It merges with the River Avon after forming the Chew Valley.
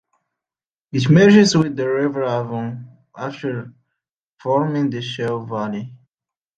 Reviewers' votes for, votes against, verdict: 0, 2, rejected